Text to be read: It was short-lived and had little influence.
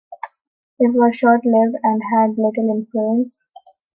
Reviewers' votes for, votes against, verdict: 3, 0, accepted